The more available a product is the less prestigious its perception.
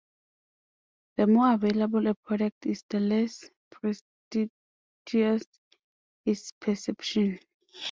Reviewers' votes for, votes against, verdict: 2, 1, accepted